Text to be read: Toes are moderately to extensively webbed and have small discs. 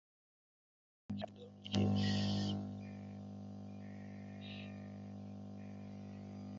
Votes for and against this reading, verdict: 0, 3, rejected